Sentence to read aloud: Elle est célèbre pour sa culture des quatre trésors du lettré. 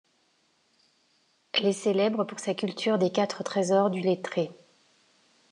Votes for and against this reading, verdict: 2, 0, accepted